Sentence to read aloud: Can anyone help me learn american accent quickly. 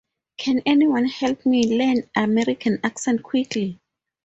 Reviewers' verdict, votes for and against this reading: accepted, 2, 0